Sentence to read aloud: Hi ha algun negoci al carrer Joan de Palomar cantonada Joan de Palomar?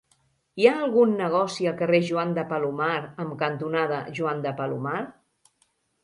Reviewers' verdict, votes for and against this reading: rejected, 0, 3